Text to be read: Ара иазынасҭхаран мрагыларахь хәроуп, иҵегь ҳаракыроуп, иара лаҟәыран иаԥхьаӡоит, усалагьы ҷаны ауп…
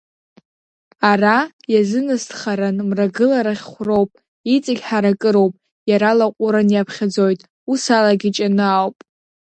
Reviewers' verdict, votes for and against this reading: rejected, 1, 2